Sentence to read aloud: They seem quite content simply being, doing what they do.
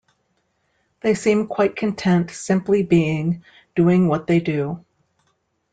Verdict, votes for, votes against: accepted, 2, 0